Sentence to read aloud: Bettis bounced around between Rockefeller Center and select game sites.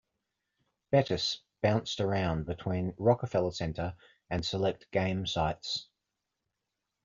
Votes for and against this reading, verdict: 2, 0, accepted